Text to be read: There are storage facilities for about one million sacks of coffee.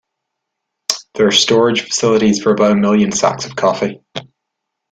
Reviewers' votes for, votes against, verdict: 0, 2, rejected